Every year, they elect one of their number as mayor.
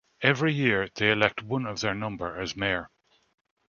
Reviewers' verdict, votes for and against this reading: accepted, 2, 0